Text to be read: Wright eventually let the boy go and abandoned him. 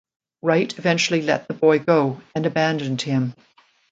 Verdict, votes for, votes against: accepted, 2, 0